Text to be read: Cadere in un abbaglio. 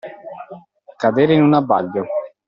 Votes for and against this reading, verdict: 2, 0, accepted